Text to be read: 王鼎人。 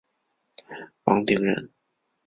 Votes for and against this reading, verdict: 4, 0, accepted